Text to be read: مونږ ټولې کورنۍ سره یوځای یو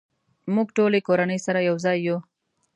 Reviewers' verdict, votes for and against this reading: accepted, 2, 0